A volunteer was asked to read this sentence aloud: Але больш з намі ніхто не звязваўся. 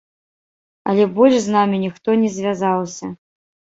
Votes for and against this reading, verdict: 1, 2, rejected